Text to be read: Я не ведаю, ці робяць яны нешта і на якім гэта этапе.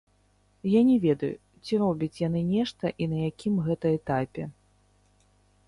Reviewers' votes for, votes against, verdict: 1, 2, rejected